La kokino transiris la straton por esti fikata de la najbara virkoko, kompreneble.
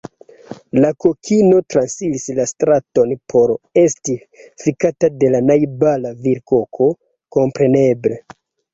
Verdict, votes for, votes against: accepted, 2, 0